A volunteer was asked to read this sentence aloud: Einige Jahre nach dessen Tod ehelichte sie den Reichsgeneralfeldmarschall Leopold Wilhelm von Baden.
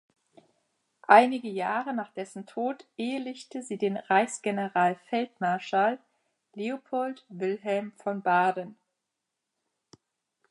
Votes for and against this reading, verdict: 2, 0, accepted